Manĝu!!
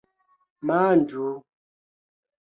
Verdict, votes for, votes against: rejected, 1, 2